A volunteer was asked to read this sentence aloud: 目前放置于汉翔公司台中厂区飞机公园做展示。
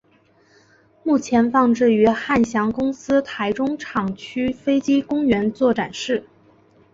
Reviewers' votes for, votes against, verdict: 3, 1, accepted